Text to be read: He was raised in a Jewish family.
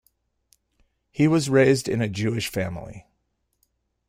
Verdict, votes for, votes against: accepted, 2, 0